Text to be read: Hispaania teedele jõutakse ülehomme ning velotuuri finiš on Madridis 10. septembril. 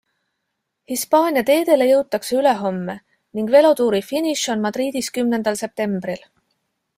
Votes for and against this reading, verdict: 0, 2, rejected